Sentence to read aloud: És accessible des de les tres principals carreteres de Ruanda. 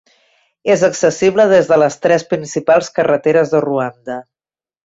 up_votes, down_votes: 3, 0